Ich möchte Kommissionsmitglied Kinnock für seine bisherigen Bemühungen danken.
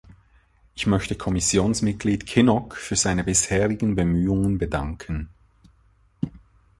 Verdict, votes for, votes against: rejected, 0, 2